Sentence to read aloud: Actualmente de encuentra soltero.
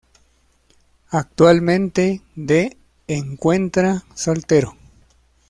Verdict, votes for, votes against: accepted, 2, 0